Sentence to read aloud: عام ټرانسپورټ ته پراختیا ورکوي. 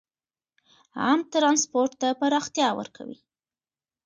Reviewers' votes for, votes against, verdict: 2, 1, accepted